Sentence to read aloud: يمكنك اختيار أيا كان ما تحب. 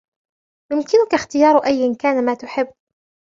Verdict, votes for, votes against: rejected, 0, 2